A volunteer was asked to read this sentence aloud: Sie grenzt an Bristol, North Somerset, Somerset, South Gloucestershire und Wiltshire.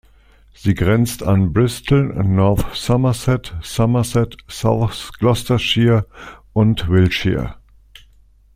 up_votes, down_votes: 2, 1